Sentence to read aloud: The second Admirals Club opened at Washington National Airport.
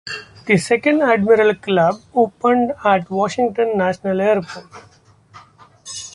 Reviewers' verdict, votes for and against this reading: rejected, 1, 2